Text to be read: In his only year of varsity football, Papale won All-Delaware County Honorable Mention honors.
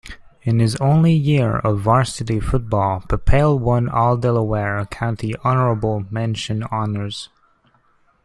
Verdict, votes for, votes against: accepted, 2, 0